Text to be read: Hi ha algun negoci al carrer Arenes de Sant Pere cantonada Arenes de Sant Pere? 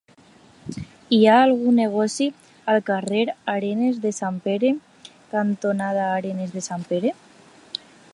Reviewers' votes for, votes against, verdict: 2, 0, accepted